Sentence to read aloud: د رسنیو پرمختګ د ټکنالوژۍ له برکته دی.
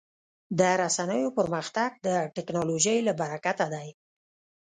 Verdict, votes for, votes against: rejected, 0, 2